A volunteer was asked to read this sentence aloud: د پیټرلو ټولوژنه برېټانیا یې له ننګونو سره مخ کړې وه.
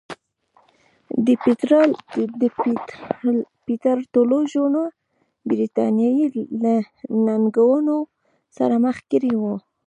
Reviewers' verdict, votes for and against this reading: rejected, 1, 2